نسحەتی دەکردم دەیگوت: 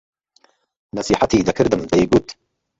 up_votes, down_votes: 1, 2